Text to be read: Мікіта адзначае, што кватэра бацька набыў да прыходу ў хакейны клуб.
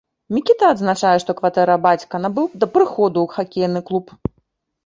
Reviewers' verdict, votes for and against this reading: accepted, 2, 0